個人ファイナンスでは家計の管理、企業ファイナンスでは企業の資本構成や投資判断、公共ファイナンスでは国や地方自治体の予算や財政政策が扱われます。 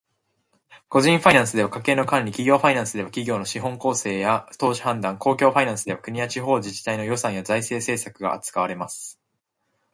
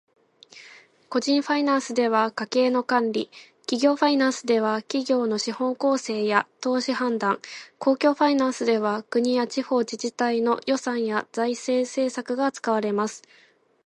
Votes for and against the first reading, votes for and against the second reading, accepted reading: 1, 2, 2, 0, second